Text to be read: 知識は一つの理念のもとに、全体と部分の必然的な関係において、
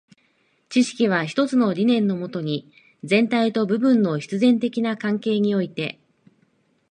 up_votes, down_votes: 2, 0